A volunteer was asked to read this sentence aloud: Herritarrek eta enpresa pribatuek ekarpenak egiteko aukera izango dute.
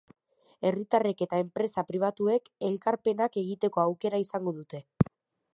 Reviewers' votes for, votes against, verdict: 1, 2, rejected